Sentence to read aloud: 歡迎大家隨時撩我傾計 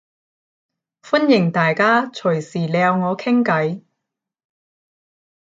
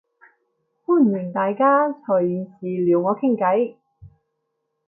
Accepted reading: second